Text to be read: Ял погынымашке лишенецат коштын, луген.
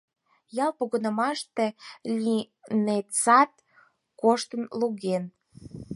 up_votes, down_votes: 0, 4